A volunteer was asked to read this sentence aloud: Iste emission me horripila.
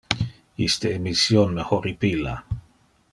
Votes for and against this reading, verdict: 1, 2, rejected